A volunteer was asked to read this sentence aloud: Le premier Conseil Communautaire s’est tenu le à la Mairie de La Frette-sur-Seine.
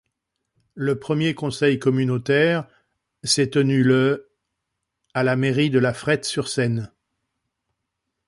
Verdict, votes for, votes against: accepted, 2, 0